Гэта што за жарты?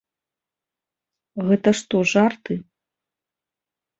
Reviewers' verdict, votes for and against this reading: rejected, 1, 2